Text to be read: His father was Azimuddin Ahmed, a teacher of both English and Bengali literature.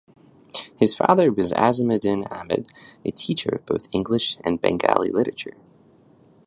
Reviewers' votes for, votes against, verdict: 2, 0, accepted